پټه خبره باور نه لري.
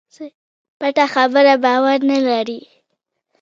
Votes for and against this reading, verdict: 0, 2, rejected